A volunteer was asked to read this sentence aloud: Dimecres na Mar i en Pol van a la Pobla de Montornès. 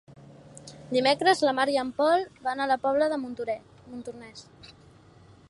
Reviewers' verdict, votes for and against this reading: rejected, 0, 2